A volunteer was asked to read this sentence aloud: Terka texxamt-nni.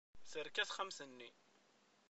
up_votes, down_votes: 2, 1